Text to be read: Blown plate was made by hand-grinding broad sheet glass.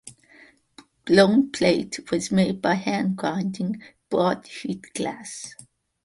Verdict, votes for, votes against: accepted, 2, 0